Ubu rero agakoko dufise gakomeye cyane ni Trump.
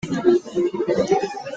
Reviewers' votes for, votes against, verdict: 0, 2, rejected